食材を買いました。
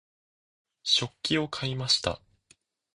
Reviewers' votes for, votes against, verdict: 1, 2, rejected